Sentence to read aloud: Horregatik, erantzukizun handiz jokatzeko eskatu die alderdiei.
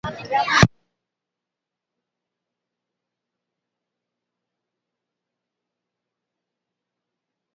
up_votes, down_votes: 0, 3